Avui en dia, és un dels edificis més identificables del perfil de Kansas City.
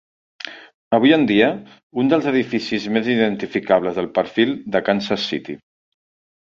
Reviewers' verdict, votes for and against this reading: rejected, 0, 2